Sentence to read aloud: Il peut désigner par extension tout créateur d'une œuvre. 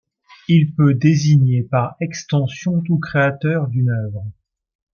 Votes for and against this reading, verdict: 2, 0, accepted